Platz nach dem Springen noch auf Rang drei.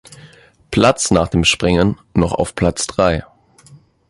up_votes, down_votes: 0, 2